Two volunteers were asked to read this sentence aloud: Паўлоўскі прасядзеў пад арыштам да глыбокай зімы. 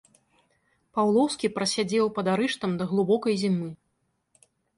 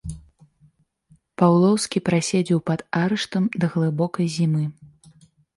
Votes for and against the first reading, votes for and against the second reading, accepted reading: 2, 1, 1, 2, first